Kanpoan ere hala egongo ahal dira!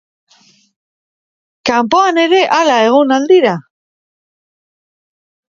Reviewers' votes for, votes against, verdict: 0, 3, rejected